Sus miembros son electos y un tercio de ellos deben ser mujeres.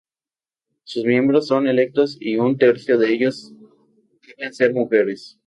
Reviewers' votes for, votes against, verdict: 0, 2, rejected